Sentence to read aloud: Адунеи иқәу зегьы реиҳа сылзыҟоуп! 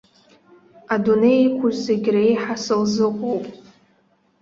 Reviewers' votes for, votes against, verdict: 2, 1, accepted